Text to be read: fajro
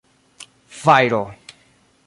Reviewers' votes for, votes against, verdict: 2, 0, accepted